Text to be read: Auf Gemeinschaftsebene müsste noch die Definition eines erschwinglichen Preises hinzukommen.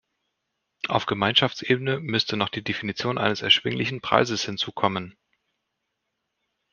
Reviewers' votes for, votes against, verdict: 2, 0, accepted